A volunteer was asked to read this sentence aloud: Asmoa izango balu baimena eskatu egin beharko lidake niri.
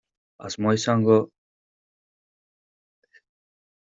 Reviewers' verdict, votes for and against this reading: rejected, 0, 2